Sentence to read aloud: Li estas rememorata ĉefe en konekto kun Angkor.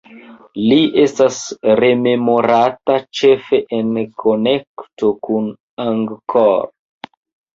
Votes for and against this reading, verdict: 2, 0, accepted